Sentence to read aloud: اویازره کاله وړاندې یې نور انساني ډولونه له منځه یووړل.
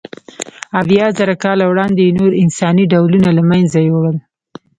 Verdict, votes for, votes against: rejected, 0, 2